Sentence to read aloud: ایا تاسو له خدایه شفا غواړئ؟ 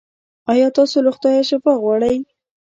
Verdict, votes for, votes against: rejected, 1, 2